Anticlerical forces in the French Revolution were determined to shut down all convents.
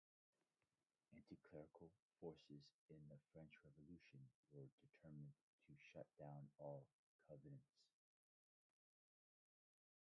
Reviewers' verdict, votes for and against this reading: rejected, 0, 2